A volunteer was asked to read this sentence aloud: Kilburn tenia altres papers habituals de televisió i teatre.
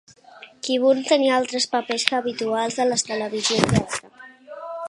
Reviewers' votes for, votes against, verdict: 2, 9, rejected